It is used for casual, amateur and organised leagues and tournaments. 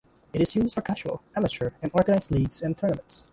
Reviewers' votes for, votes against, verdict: 2, 0, accepted